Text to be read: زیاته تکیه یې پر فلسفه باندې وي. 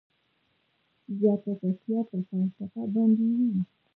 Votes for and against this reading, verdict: 0, 2, rejected